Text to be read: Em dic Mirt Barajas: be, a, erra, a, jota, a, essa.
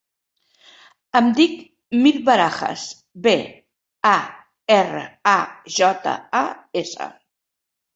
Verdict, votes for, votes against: accepted, 2, 0